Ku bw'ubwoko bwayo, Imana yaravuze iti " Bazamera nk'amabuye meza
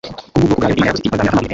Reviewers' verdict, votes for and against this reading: rejected, 0, 2